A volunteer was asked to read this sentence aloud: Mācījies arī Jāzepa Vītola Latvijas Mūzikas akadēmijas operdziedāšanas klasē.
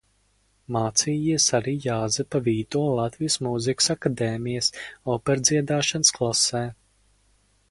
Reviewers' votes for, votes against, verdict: 4, 0, accepted